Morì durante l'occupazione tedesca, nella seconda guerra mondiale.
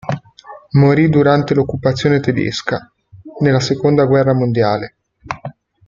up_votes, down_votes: 2, 0